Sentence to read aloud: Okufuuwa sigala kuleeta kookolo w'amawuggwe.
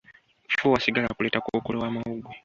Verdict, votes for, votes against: accepted, 2, 1